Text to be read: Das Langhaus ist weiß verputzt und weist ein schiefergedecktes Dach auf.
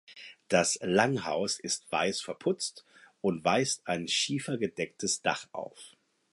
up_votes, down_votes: 4, 0